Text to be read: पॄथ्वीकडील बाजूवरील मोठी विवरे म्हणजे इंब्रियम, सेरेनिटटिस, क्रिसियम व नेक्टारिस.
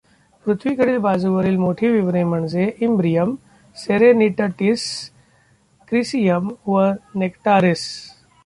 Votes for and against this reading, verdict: 0, 2, rejected